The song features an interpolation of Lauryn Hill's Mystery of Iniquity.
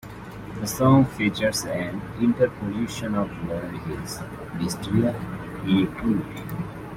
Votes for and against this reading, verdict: 1, 2, rejected